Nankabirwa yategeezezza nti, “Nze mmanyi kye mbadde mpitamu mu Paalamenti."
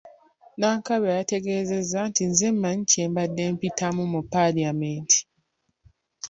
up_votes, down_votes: 2, 0